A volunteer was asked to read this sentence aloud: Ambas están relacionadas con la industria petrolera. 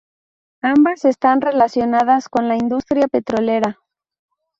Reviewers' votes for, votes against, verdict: 0, 2, rejected